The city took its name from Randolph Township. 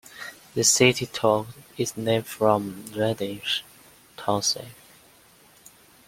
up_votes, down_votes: 0, 2